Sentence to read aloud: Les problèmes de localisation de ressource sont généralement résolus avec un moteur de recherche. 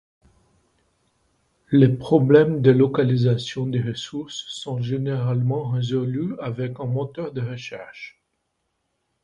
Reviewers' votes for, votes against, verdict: 2, 0, accepted